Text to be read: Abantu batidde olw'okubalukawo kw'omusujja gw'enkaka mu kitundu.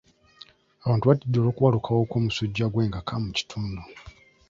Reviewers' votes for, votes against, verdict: 2, 0, accepted